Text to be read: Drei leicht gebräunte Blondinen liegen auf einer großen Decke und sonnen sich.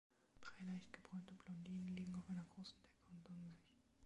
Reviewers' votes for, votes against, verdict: 0, 2, rejected